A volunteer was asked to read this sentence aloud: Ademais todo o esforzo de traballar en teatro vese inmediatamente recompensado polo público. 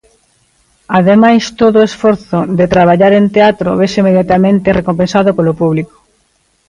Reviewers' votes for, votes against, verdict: 2, 0, accepted